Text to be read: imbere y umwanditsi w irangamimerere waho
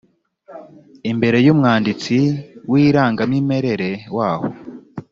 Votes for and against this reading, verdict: 2, 0, accepted